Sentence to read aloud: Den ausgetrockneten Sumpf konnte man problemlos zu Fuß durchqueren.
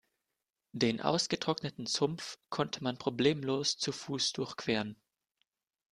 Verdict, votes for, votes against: accepted, 2, 0